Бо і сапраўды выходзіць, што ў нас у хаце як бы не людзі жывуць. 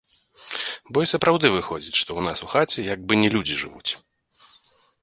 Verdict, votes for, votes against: accepted, 2, 0